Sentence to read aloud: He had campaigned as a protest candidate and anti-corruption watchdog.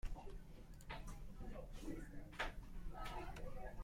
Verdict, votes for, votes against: rejected, 0, 2